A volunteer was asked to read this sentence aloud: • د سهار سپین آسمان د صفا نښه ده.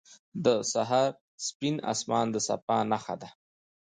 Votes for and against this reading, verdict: 2, 0, accepted